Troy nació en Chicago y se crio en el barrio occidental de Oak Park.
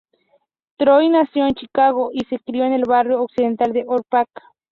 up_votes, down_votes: 0, 2